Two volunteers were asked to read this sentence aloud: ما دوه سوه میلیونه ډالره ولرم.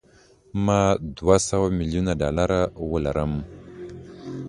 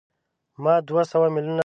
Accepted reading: first